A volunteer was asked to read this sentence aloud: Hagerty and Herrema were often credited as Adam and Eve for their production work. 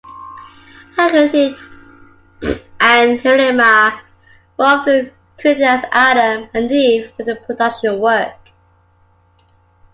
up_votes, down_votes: 0, 2